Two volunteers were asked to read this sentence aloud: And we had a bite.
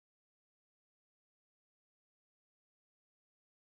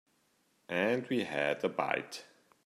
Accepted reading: second